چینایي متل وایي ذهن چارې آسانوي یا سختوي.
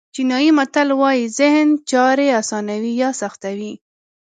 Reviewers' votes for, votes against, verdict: 2, 0, accepted